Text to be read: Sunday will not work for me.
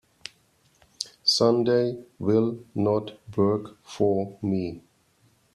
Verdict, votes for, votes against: accepted, 2, 0